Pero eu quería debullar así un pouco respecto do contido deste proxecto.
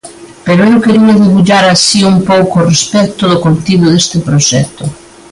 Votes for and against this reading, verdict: 2, 0, accepted